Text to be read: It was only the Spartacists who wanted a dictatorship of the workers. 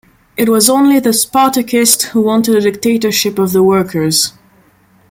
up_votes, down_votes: 2, 0